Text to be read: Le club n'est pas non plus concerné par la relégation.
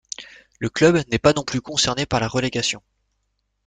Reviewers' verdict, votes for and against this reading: accepted, 2, 0